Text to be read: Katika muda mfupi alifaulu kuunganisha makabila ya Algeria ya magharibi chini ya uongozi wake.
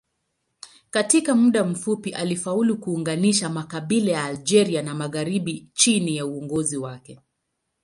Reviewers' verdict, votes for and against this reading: accepted, 2, 0